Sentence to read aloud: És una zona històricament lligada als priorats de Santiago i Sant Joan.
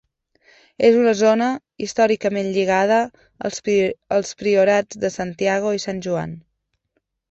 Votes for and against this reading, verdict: 1, 2, rejected